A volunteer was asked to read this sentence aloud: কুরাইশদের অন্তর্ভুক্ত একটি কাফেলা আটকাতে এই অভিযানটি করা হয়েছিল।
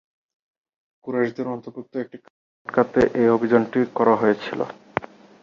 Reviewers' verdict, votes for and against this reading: rejected, 0, 2